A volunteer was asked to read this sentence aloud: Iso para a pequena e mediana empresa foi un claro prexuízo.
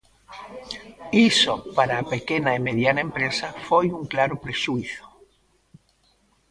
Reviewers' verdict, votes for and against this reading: accepted, 2, 1